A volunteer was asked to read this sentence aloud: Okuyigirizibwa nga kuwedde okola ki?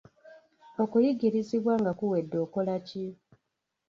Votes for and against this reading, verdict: 1, 2, rejected